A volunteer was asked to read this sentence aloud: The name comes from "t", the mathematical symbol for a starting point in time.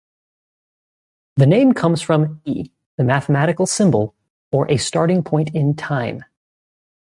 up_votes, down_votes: 1, 2